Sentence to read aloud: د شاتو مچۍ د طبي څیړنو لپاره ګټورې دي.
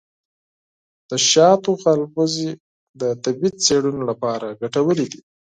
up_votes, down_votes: 0, 4